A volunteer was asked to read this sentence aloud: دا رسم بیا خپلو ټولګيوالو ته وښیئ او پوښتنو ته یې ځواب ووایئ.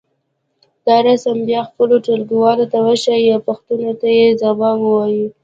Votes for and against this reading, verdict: 3, 0, accepted